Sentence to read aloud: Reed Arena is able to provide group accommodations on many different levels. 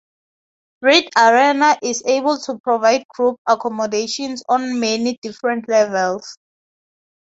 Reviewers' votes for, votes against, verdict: 2, 0, accepted